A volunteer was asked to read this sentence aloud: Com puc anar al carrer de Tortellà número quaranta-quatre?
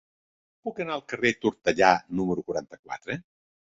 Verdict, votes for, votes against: rejected, 2, 3